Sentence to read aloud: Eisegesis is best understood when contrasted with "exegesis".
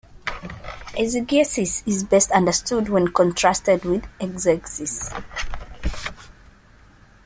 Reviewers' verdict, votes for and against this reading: accepted, 2, 1